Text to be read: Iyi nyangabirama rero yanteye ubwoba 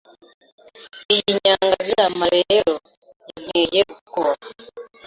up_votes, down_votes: 2, 0